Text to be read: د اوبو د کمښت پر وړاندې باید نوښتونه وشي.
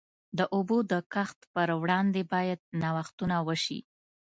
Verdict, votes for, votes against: rejected, 1, 2